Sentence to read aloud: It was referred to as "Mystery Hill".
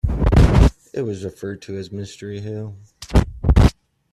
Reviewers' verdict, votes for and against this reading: accepted, 2, 0